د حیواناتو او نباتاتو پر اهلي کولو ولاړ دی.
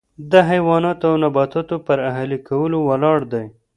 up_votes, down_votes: 2, 0